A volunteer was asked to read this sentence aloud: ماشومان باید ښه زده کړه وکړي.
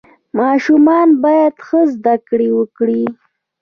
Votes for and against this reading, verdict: 2, 0, accepted